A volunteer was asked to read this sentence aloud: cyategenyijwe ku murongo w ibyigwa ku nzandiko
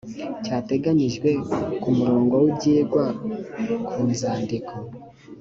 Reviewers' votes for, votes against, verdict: 2, 1, accepted